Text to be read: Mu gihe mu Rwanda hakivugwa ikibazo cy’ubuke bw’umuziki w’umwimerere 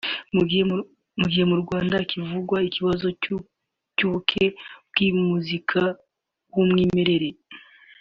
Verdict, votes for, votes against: rejected, 0, 2